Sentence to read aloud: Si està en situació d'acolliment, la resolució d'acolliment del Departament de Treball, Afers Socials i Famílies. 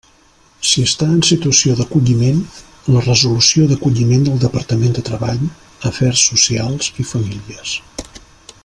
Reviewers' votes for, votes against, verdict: 3, 0, accepted